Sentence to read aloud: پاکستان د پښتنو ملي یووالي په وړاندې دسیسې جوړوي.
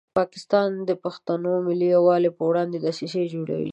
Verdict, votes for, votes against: accepted, 2, 0